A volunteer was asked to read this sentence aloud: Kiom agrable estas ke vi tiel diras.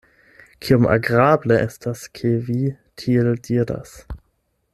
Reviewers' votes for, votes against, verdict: 8, 0, accepted